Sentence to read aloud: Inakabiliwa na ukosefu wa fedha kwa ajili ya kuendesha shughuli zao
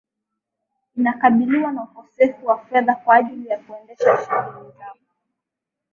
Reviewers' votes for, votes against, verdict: 2, 1, accepted